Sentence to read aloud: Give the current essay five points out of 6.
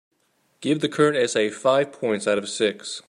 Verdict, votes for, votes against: rejected, 0, 2